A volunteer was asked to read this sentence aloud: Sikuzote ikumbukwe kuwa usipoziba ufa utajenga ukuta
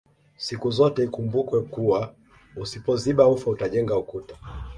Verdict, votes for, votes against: accepted, 2, 0